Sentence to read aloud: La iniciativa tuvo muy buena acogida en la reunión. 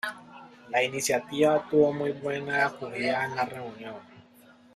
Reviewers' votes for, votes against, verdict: 2, 0, accepted